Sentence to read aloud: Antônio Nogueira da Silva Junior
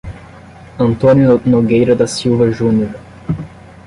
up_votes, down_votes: 5, 10